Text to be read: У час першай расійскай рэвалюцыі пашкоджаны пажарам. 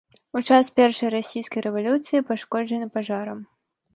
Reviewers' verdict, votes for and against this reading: accepted, 2, 0